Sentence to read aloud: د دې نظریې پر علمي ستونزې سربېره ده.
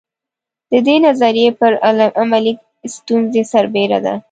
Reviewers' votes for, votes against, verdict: 1, 2, rejected